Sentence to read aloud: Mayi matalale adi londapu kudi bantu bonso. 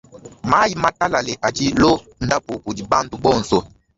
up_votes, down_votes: 2, 1